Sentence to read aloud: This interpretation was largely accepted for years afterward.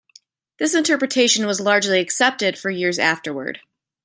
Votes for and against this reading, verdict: 2, 0, accepted